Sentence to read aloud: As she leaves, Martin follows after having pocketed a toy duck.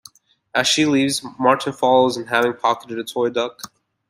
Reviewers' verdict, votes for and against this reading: rejected, 0, 2